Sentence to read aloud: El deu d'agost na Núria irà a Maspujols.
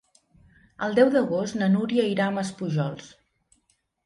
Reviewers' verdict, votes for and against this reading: accepted, 4, 0